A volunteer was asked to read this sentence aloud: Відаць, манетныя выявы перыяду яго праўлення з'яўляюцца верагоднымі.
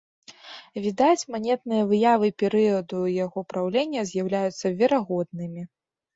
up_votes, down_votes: 2, 1